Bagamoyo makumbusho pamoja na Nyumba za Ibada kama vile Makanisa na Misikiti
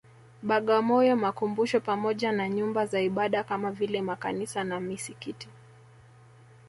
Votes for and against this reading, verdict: 6, 0, accepted